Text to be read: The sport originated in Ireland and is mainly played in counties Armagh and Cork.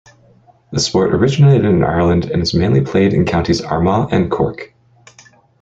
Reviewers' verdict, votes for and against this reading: accepted, 2, 0